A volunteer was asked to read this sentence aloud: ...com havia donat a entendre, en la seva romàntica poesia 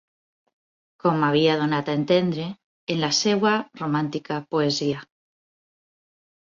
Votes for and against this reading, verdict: 2, 4, rejected